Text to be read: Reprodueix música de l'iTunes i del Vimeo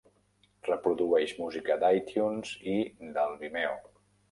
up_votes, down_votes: 0, 2